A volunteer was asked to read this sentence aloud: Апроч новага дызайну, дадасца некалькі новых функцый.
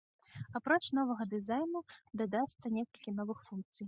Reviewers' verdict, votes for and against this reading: accepted, 2, 0